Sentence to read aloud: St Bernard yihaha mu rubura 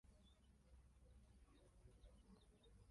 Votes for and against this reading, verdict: 0, 2, rejected